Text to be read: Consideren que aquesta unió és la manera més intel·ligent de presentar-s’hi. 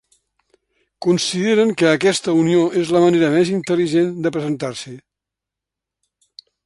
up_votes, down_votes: 2, 0